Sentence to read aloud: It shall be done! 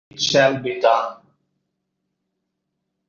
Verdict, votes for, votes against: rejected, 0, 2